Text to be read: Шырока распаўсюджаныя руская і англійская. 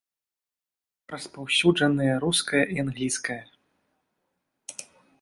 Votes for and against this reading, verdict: 0, 2, rejected